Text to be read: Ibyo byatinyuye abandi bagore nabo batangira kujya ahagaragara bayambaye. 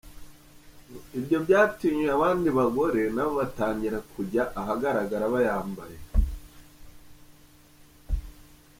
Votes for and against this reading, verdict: 2, 0, accepted